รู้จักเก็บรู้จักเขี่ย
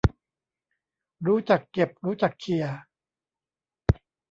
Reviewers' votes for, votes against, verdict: 0, 2, rejected